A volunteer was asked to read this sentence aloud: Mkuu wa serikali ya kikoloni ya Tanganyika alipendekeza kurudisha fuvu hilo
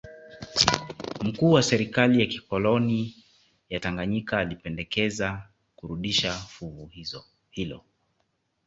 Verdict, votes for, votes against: rejected, 1, 2